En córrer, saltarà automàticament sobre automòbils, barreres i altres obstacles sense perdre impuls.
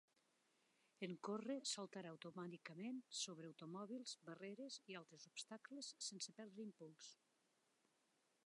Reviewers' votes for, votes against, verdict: 3, 2, accepted